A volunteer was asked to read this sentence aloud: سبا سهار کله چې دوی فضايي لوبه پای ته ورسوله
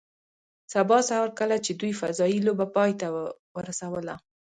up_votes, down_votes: 1, 2